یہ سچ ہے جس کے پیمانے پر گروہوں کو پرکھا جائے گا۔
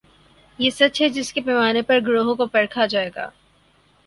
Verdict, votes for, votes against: accepted, 4, 0